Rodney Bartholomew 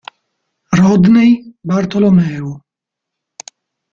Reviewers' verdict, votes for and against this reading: rejected, 0, 2